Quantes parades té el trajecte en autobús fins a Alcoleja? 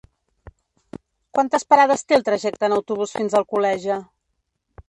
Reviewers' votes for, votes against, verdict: 1, 2, rejected